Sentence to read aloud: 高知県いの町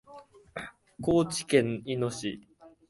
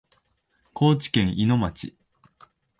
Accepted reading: second